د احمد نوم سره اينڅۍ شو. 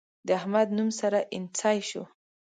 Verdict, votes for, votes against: accepted, 3, 0